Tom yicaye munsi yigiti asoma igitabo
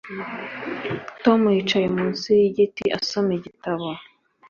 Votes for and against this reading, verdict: 4, 0, accepted